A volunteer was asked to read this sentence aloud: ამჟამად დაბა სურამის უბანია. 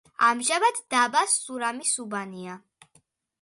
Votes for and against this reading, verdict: 2, 0, accepted